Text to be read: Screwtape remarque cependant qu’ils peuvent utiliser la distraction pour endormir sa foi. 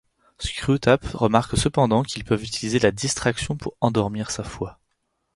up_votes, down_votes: 2, 4